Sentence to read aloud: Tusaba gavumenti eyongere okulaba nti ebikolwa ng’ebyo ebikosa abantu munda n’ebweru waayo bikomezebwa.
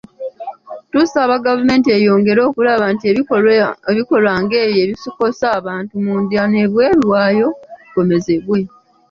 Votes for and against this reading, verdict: 0, 2, rejected